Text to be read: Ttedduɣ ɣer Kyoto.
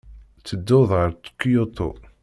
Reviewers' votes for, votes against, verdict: 1, 2, rejected